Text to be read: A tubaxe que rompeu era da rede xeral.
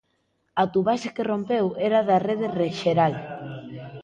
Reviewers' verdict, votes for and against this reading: accepted, 2, 1